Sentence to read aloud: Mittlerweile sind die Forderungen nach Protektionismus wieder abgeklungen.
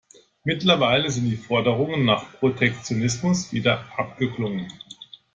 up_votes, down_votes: 2, 0